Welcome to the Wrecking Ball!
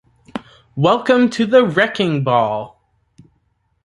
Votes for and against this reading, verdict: 0, 2, rejected